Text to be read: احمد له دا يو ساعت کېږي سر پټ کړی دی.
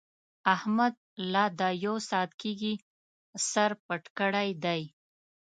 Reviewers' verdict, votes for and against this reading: accepted, 2, 0